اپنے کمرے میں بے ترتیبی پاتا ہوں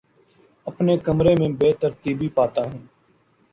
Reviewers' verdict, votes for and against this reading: accepted, 2, 0